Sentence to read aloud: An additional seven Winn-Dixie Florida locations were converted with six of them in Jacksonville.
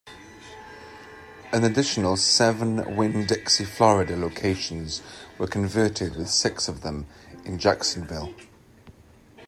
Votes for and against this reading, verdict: 2, 0, accepted